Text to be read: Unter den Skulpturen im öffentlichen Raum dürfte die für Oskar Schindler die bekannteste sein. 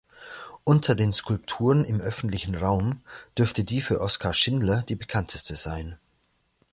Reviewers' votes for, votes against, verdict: 2, 0, accepted